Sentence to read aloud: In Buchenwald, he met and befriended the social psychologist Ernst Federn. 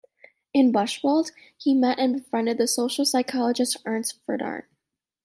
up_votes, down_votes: 1, 2